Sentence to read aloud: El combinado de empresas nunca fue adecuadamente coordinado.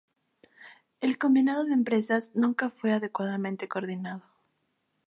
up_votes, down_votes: 2, 0